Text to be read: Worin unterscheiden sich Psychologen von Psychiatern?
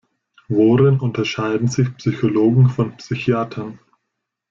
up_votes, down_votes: 2, 0